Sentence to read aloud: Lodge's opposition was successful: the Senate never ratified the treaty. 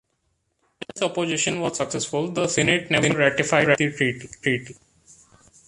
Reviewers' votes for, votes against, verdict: 0, 2, rejected